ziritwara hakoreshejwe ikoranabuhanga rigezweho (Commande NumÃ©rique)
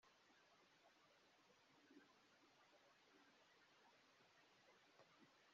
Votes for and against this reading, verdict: 0, 3, rejected